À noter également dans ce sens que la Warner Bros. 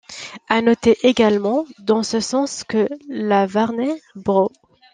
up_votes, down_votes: 1, 2